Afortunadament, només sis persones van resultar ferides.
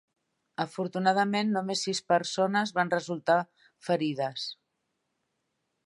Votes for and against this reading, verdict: 3, 0, accepted